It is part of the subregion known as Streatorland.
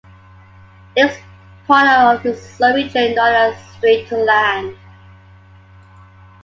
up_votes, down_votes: 2, 1